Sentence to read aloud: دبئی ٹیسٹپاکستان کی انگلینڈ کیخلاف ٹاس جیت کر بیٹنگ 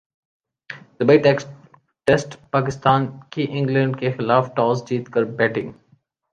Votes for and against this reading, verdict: 3, 0, accepted